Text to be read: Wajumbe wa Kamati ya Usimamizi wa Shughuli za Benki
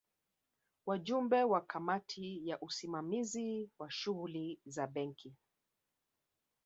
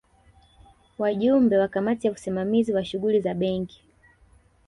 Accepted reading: first